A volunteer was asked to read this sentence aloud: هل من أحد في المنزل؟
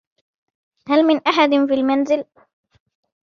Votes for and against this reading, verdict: 1, 2, rejected